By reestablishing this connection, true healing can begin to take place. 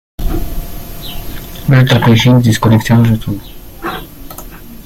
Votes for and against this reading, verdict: 0, 2, rejected